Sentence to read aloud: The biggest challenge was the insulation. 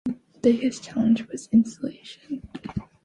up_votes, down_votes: 1, 2